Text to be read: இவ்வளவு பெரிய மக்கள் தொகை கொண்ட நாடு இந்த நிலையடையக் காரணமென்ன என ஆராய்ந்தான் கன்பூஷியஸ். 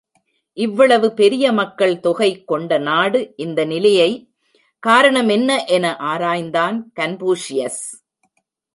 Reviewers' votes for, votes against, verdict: 0, 2, rejected